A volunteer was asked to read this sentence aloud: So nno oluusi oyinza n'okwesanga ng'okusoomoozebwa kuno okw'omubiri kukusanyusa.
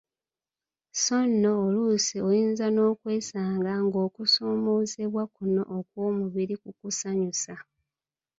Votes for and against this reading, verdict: 2, 1, accepted